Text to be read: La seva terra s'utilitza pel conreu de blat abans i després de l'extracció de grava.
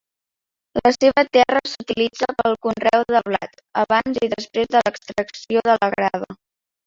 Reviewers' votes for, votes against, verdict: 1, 2, rejected